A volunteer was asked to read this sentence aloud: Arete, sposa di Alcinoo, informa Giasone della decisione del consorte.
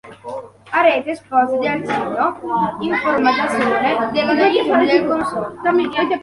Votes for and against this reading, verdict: 1, 3, rejected